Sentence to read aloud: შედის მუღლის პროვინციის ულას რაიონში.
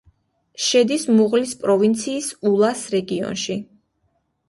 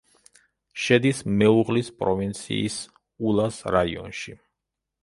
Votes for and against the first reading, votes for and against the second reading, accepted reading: 2, 1, 0, 2, first